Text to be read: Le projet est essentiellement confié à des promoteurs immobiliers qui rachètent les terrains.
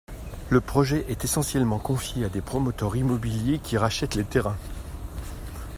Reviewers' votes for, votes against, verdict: 2, 0, accepted